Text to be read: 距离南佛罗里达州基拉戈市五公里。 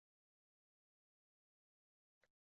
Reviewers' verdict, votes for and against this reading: rejected, 0, 2